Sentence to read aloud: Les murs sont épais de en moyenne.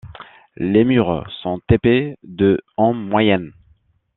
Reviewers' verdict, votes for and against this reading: accepted, 2, 0